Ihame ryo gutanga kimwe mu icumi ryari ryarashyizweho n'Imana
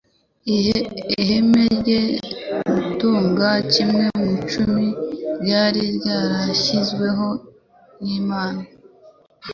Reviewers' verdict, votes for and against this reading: rejected, 1, 2